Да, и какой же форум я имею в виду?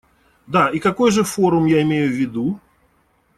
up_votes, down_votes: 2, 0